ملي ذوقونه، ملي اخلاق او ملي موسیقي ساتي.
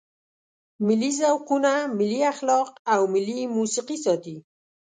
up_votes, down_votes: 2, 0